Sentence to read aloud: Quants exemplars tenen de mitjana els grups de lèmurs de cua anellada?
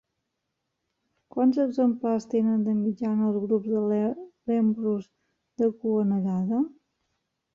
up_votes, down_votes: 0, 2